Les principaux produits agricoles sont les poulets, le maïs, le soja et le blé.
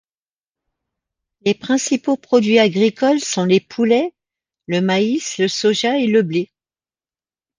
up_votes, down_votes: 2, 0